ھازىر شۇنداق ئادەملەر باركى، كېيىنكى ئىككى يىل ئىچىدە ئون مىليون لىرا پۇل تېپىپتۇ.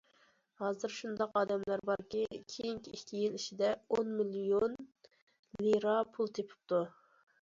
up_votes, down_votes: 2, 1